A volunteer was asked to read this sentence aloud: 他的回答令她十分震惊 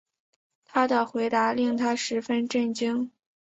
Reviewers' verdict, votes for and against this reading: accepted, 5, 0